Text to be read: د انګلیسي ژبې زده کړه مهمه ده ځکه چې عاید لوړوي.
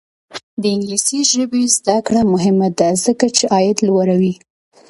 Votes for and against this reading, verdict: 2, 0, accepted